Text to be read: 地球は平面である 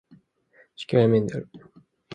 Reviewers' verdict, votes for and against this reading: rejected, 1, 2